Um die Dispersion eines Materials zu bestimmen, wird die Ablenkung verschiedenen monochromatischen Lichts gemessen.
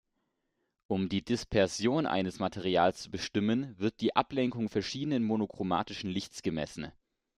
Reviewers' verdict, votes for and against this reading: accepted, 2, 0